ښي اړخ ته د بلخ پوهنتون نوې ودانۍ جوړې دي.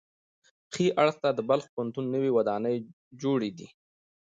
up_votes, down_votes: 2, 0